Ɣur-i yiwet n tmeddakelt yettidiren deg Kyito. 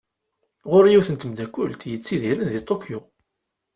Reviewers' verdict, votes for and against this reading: rejected, 0, 2